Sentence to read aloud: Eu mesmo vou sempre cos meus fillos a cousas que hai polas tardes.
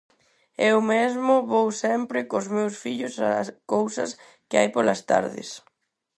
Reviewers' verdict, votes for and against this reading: rejected, 0, 4